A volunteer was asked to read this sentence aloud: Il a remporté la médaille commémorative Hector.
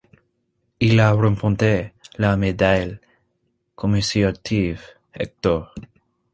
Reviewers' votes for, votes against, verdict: 0, 2, rejected